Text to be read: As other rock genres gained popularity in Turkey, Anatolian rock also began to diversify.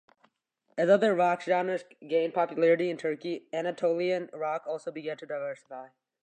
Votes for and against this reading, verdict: 2, 0, accepted